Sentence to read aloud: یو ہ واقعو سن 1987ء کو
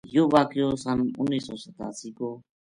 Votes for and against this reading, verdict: 0, 2, rejected